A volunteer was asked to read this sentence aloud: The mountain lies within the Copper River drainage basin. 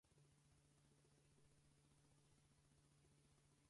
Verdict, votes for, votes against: rejected, 0, 4